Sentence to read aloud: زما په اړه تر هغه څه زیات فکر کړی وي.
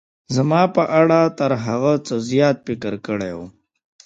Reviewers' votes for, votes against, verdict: 1, 2, rejected